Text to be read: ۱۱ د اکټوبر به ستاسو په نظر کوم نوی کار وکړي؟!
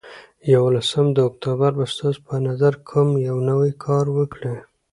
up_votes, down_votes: 0, 2